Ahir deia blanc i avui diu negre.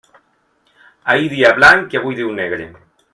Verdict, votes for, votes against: rejected, 1, 2